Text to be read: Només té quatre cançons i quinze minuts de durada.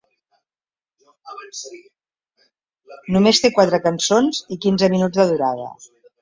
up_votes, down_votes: 1, 2